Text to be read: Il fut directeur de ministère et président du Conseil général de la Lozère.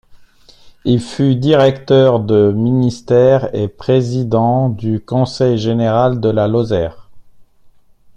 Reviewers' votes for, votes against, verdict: 1, 2, rejected